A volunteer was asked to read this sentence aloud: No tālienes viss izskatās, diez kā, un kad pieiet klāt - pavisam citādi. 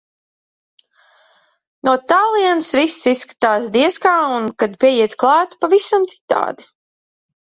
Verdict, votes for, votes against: rejected, 1, 2